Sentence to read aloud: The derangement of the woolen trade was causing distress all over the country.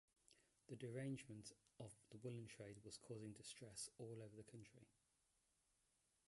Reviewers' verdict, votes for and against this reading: rejected, 1, 2